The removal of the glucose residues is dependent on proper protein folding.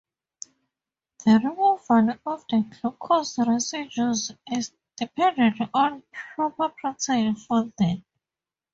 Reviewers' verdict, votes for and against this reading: rejected, 2, 2